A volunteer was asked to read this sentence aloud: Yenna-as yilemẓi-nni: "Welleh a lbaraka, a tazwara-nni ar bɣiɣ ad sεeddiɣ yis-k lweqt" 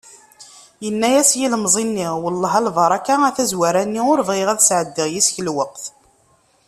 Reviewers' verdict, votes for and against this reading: accepted, 2, 0